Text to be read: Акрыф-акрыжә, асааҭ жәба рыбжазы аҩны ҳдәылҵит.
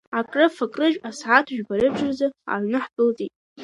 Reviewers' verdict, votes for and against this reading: rejected, 1, 2